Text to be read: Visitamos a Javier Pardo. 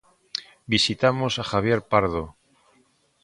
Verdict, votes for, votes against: accepted, 2, 0